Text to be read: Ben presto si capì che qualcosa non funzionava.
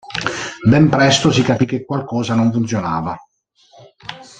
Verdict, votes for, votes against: rejected, 0, 2